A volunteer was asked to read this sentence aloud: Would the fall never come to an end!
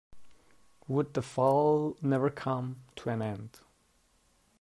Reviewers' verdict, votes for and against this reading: accepted, 2, 0